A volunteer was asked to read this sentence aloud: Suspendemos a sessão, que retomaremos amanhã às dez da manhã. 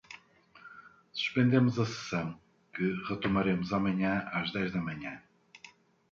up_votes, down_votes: 2, 0